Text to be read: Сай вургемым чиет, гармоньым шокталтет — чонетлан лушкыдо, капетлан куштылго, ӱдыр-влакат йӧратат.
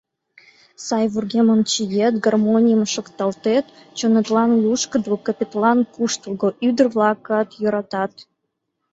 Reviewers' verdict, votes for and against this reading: rejected, 0, 2